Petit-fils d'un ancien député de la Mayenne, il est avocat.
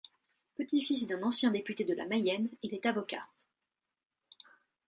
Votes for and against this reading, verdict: 2, 0, accepted